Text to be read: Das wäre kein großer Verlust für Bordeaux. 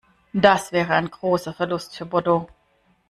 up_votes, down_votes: 0, 2